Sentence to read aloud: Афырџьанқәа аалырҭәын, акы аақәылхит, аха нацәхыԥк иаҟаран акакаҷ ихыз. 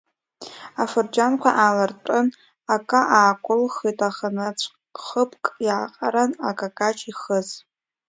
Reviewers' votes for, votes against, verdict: 0, 2, rejected